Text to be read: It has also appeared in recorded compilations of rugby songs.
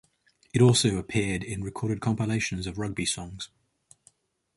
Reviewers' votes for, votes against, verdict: 4, 6, rejected